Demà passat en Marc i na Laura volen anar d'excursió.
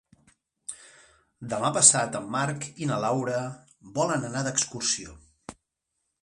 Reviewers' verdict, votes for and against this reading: accepted, 2, 0